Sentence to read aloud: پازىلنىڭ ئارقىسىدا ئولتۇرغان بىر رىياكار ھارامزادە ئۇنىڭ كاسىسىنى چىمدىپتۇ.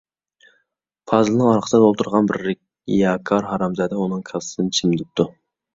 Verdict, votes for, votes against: rejected, 1, 2